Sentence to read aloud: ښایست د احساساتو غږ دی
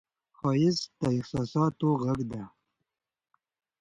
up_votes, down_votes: 2, 1